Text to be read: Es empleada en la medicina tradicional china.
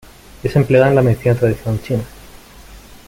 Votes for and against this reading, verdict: 2, 3, rejected